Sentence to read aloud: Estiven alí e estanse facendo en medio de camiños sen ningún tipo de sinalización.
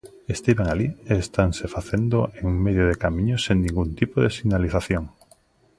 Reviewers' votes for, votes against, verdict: 2, 0, accepted